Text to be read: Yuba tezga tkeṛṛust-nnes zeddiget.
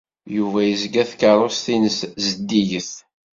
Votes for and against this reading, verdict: 1, 2, rejected